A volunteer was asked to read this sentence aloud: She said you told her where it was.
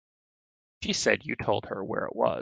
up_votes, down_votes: 1, 2